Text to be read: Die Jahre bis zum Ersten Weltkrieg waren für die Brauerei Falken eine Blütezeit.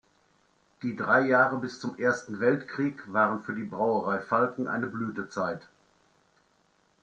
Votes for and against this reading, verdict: 0, 2, rejected